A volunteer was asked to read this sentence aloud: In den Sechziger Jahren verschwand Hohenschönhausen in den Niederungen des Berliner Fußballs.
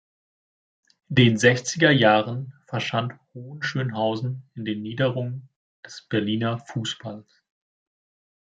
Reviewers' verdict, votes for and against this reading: rejected, 0, 2